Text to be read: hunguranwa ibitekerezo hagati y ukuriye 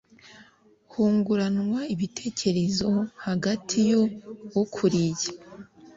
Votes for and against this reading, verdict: 2, 0, accepted